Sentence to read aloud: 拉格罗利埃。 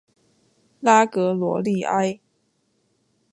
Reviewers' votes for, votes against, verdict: 2, 0, accepted